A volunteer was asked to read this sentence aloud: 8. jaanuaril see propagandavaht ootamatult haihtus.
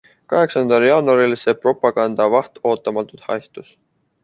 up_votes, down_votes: 0, 2